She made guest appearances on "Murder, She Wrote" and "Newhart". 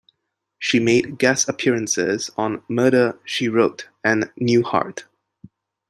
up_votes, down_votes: 3, 0